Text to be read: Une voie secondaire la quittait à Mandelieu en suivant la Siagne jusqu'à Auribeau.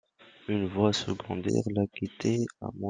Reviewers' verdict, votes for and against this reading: rejected, 0, 2